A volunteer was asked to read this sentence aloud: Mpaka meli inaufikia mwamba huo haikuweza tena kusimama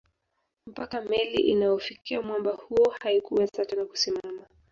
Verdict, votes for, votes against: rejected, 1, 2